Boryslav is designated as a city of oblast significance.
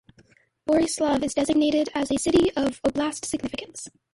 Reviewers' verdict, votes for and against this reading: accepted, 2, 0